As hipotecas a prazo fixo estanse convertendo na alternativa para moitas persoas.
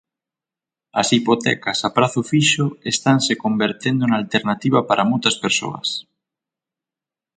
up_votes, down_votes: 6, 0